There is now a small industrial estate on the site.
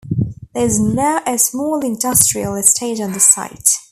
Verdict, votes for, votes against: accepted, 2, 0